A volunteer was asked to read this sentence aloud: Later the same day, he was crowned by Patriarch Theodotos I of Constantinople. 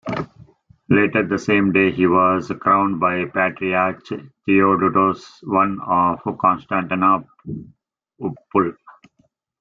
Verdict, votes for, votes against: rejected, 0, 2